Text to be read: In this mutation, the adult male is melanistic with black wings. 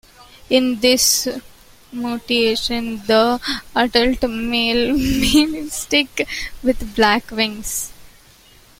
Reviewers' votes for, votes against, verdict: 0, 2, rejected